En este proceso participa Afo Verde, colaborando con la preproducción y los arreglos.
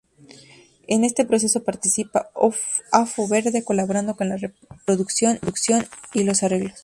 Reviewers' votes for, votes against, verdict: 0, 4, rejected